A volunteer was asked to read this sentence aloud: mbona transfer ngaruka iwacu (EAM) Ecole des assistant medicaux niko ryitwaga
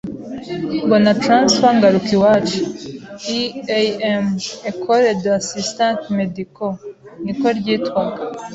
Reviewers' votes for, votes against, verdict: 3, 0, accepted